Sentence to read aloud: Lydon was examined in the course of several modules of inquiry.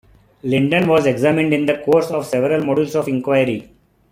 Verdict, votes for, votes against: rejected, 0, 2